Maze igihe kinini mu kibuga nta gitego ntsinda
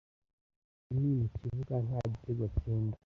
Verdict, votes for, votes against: rejected, 0, 2